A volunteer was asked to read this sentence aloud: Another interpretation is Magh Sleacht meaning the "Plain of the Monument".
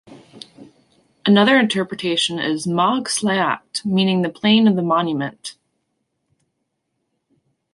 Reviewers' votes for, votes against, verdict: 2, 0, accepted